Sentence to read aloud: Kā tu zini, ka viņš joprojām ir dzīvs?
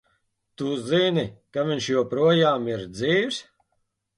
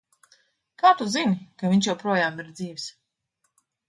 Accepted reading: second